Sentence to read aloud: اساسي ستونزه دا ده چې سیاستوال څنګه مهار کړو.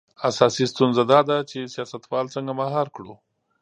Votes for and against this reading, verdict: 2, 0, accepted